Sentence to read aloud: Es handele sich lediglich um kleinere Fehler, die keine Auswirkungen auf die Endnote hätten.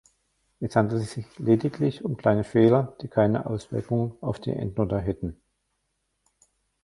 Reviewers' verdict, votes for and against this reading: rejected, 0, 2